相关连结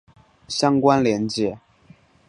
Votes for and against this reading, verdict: 3, 0, accepted